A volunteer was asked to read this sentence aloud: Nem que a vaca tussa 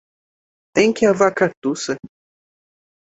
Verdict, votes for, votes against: rejected, 1, 2